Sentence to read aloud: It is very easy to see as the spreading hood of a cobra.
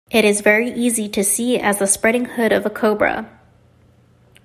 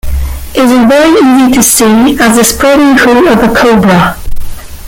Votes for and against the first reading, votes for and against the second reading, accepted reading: 2, 0, 1, 3, first